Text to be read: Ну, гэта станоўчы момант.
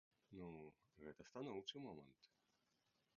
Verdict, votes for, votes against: rejected, 1, 2